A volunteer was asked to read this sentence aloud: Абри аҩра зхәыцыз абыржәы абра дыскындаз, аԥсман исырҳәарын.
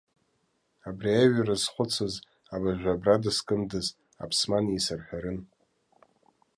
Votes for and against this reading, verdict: 2, 0, accepted